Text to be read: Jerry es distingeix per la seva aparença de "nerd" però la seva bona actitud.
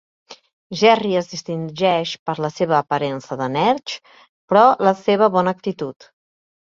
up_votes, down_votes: 0, 2